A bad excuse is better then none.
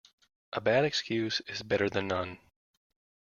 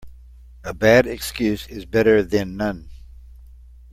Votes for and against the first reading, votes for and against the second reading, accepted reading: 0, 2, 2, 0, second